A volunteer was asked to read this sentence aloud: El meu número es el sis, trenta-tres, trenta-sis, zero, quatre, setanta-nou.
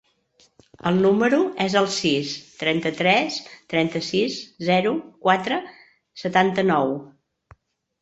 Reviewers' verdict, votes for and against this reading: rejected, 0, 2